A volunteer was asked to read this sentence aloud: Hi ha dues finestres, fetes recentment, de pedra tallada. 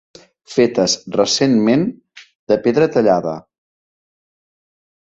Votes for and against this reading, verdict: 0, 2, rejected